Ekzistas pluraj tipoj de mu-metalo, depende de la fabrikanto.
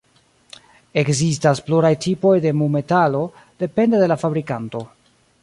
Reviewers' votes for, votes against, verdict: 2, 0, accepted